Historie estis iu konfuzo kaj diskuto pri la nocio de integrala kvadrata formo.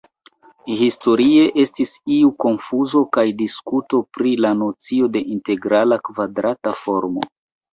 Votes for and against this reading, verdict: 3, 0, accepted